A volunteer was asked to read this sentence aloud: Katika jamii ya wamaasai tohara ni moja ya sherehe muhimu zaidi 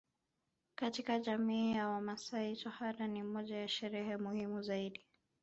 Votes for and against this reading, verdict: 0, 2, rejected